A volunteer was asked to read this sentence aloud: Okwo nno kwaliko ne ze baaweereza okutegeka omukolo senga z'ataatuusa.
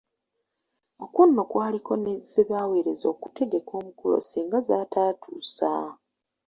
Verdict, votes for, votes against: accepted, 2, 0